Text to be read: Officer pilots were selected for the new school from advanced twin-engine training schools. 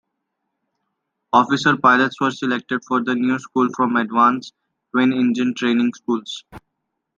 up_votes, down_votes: 2, 0